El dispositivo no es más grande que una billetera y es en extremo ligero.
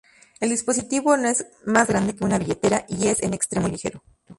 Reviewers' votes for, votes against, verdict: 0, 2, rejected